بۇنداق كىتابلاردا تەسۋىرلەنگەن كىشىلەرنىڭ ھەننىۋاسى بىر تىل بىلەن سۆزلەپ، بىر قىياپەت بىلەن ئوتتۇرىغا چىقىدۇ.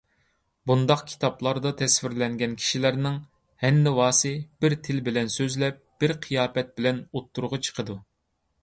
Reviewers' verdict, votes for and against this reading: accepted, 2, 0